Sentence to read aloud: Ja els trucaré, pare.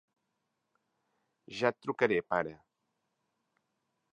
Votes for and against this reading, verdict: 0, 2, rejected